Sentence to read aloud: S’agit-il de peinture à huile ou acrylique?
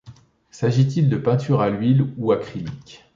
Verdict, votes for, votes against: accepted, 2, 0